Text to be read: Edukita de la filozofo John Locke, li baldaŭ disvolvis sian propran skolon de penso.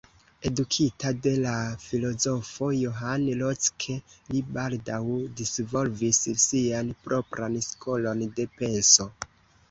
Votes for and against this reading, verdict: 1, 2, rejected